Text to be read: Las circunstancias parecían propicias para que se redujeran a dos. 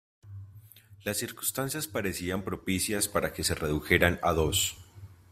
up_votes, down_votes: 2, 1